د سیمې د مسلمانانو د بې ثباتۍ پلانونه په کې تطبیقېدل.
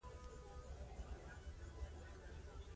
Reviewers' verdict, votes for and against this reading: accepted, 2, 1